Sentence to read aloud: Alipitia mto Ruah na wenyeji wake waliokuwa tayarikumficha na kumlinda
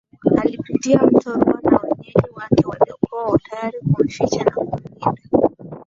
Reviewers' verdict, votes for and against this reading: rejected, 0, 2